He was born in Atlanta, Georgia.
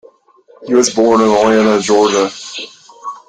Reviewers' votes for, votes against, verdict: 2, 1, accepted